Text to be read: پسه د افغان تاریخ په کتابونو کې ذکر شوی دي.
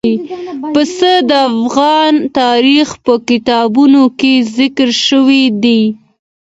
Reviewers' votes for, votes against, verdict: 2, 1, accepted